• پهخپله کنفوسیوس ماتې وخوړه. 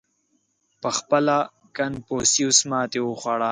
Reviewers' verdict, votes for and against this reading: accepted, 2, 0